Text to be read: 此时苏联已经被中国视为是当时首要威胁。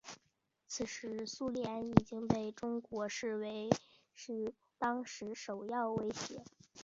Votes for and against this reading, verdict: 2, 1, accepted